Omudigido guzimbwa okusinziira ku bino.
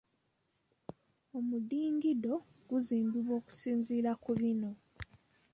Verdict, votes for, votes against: accepted, 3, 2